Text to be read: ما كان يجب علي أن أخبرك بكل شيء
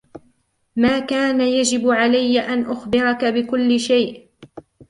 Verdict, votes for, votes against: accepted, 2, 1